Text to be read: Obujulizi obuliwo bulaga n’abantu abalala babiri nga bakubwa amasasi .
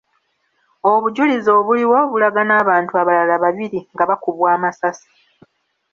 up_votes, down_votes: 2, 0